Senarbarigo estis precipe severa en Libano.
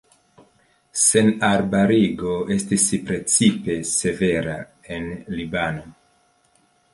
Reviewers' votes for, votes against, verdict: 3, 0, accepted